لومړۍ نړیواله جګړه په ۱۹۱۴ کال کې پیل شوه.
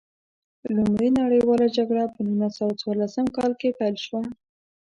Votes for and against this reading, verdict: 0, 2, rejected